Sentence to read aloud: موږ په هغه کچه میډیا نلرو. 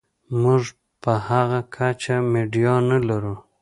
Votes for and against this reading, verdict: 2, 1, accepted